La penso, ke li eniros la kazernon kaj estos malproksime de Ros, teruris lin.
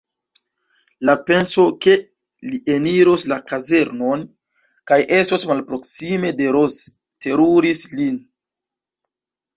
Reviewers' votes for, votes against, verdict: 1, 2, rejected